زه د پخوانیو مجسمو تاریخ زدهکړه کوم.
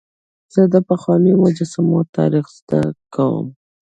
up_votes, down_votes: 1, 2